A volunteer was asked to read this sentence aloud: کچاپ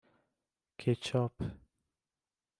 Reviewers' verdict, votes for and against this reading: accepted, 2, 0